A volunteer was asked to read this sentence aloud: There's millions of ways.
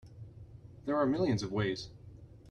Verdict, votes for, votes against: rejected, 0, 2